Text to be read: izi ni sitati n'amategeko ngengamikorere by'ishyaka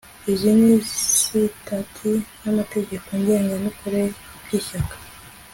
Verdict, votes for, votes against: accepted, 2, 0